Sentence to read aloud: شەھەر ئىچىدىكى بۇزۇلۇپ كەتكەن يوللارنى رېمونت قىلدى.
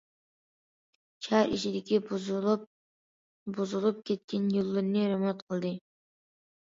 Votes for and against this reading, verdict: 0, 2, rejected